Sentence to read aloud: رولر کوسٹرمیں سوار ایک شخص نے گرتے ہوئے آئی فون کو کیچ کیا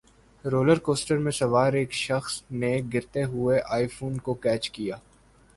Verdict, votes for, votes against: rejected, 1, 2